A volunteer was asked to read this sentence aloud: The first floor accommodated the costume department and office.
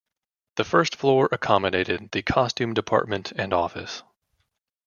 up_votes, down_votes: 2, 0